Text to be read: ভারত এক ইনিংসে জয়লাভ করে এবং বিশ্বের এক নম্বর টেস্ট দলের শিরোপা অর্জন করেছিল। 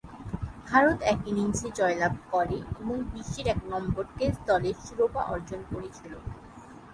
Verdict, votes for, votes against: accepted, 3, 0